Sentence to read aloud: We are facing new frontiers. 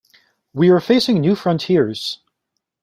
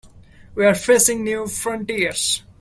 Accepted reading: first